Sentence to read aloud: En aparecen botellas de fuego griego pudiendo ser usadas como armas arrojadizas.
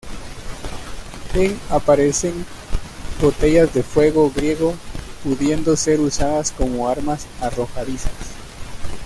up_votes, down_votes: 2, 0